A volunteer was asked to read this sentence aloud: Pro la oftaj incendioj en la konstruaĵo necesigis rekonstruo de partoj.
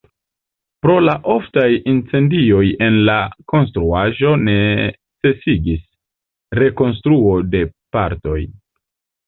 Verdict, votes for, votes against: accepted, 2, 0